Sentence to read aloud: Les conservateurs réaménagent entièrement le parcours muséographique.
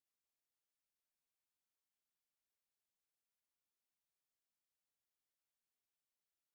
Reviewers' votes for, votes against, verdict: 1, 2, rejected